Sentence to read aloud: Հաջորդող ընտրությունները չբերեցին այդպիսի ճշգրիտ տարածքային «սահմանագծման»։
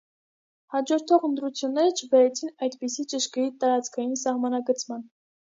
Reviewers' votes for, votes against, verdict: 2, 0, accepted